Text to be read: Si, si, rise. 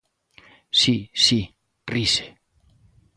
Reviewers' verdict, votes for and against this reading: accepted, 2, 0